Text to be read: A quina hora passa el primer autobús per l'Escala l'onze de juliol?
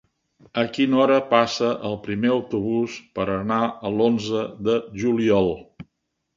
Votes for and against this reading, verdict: 0, 2, rejected